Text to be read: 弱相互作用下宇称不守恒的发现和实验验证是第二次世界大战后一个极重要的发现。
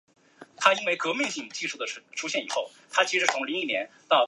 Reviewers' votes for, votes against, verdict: 0, 2, rejected